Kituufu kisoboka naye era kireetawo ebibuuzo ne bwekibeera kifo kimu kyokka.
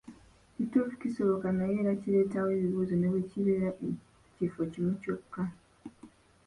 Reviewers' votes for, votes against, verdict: 0, 2, rejected